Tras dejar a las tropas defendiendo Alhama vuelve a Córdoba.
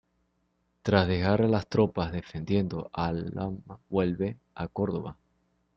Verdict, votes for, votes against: rejected, 0, 2